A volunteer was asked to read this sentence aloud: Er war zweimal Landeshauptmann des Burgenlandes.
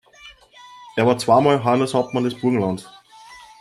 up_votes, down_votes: 1, 2